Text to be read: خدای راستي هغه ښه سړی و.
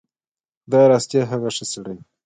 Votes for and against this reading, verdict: 2, 1, accepted